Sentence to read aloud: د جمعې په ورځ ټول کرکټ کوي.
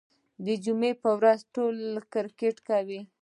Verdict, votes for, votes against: accepted, 2, 0